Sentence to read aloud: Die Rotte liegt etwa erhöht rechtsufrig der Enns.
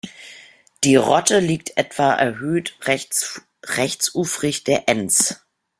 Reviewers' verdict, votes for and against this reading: rejected, 0, 2